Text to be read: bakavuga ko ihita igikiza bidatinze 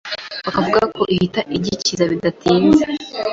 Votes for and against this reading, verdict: 2, 0, accepted